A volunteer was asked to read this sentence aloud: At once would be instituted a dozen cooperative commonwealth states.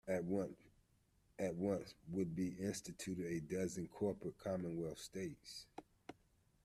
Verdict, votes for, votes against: rejected, 0, 2